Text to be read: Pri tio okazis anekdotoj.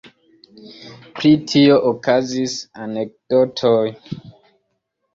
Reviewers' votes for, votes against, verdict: 2, 0, accepted